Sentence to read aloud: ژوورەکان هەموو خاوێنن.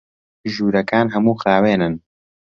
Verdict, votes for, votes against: accepted, 2, 0